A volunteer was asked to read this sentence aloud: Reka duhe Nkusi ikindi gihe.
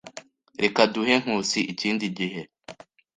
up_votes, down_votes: 2, 0